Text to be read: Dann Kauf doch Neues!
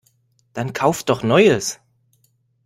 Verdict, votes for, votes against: accepted, 2, 1